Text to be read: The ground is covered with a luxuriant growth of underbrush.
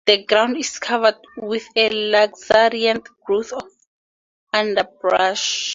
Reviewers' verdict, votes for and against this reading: rejected, 2, 2